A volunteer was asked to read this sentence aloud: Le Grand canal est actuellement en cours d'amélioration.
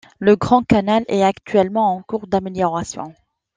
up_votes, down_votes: 2, 0